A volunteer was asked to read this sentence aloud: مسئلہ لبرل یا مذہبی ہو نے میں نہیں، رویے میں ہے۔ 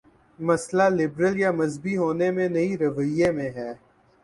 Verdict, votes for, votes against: accepted, 7, 0